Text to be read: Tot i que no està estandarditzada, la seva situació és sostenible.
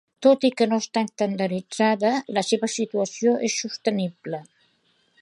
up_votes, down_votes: 2, 0